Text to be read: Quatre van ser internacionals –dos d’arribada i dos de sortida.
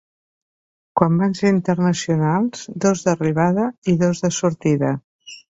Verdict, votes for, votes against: rejected, 0, 2